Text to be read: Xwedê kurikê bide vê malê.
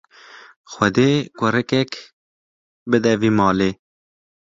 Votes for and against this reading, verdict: 0, 2, rejected